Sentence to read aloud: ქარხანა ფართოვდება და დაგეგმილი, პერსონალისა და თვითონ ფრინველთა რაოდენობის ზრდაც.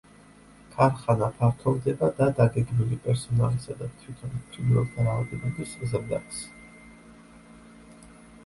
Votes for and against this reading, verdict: 2, 0, accepted